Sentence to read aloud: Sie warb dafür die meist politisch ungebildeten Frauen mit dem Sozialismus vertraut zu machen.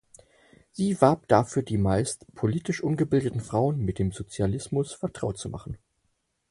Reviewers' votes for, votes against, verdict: 4, 0, accepted